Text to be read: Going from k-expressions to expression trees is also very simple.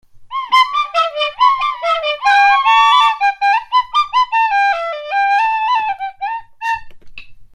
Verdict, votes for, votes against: rejected, 0, 2